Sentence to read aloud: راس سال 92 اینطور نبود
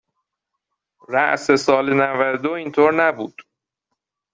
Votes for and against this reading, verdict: 0, 2, rejected